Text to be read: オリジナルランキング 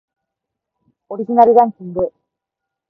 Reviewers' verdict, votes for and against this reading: rejected, 0, 4